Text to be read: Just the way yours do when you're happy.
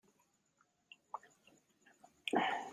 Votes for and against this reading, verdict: 0, 2, rejected